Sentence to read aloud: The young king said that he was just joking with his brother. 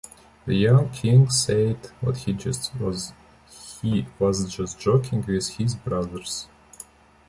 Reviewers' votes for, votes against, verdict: 1, 3, rejected